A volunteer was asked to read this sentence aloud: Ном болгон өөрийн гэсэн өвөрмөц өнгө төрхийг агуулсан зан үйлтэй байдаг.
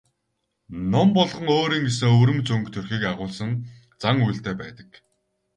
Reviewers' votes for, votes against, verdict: 4, 0, accepted